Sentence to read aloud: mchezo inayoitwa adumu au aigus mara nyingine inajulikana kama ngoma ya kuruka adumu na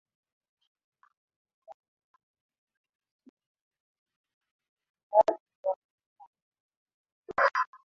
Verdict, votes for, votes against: rejected, 0, 2